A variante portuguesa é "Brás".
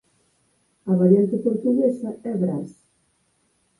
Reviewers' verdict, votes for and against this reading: rejected, 0, 4